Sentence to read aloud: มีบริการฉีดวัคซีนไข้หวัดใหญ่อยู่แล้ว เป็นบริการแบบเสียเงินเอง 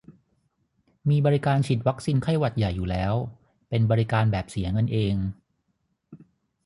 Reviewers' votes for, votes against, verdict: 6, 0, accepted